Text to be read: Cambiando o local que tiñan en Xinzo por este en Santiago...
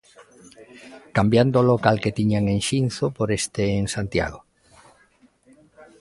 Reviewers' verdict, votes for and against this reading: accepted, 2, 0